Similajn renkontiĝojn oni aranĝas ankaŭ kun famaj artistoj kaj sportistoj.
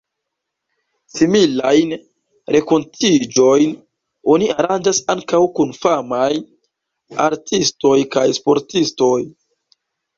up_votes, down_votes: 0, 2